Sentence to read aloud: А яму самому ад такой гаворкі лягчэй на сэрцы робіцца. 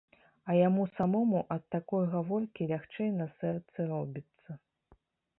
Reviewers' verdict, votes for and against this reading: accepted, 2, 0